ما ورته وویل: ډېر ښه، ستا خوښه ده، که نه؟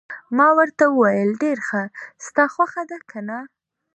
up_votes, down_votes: 2, 0